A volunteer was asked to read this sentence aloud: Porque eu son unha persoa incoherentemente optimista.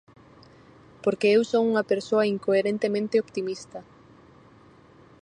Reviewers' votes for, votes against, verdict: 4, 0, accepted